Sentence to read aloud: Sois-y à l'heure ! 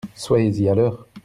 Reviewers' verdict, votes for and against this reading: rejected, 1, 2